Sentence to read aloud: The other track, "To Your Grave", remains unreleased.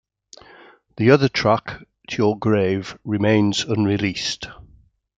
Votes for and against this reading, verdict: 2, 0, accepted